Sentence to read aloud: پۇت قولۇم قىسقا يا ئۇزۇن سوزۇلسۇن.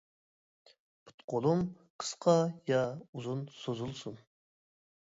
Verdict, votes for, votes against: accepted, 2, 0